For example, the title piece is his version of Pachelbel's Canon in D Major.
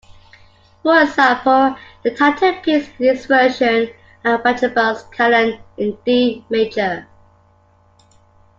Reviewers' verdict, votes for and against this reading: accepted, 2, 1